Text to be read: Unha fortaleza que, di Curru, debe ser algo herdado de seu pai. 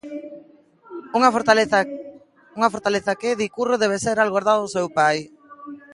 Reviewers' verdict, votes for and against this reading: rejected, 0, 2